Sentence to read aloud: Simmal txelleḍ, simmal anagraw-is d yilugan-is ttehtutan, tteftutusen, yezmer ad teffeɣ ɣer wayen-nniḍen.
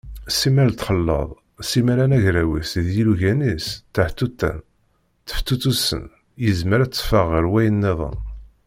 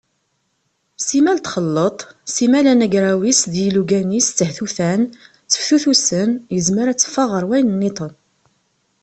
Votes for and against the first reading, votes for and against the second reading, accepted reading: 1, 2, 2, 0, second